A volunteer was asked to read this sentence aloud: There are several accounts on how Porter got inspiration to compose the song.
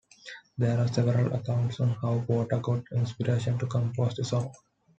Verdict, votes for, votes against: accepted, 2, 0